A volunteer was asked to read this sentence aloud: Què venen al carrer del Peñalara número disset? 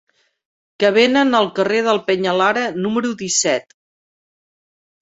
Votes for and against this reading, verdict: 0, 2, rejected